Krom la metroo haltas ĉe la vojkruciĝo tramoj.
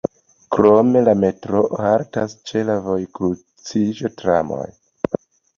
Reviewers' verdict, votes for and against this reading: accepted, 2, 0